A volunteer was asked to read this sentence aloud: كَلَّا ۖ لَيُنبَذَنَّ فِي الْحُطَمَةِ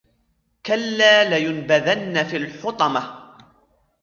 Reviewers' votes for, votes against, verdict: 2, 1, accepted